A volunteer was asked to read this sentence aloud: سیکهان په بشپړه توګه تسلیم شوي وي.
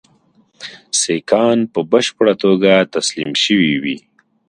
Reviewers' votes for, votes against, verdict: 3, 0, accepted